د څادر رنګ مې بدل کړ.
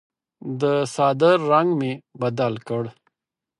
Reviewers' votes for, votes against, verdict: 4, 0, accepted